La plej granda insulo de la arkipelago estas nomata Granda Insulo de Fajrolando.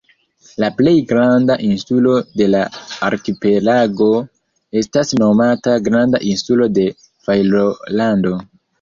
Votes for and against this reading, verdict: 1, 2, rejected